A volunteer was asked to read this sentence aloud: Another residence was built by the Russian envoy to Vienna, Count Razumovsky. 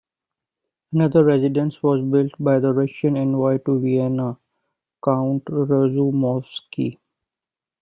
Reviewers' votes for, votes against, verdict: 2, 1, accepted